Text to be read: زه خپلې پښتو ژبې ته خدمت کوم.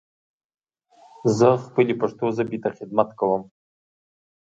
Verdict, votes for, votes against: accepted, 2, 0